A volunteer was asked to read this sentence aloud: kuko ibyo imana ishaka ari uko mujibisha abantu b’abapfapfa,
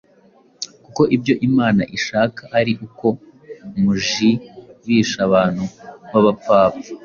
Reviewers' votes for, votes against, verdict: 2, 0, accepted